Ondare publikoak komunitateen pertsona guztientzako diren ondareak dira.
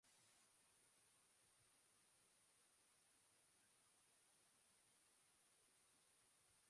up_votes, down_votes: 0, 2